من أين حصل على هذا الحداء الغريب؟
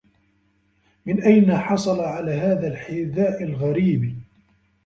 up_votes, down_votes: 2, 1